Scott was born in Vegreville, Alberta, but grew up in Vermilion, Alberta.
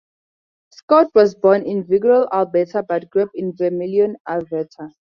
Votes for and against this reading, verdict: 2, 0, accepted